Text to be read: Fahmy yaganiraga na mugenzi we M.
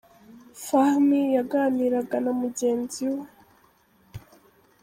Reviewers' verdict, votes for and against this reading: rejected, 0, 2